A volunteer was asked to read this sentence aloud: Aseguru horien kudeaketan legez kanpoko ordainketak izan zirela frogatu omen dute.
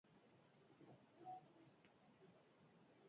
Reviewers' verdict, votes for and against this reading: rejected, 0, 2